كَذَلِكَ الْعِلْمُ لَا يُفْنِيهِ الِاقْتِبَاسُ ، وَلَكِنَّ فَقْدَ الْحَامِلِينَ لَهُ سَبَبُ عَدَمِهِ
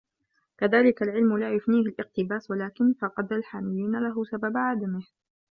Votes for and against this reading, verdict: 1, 2, rejected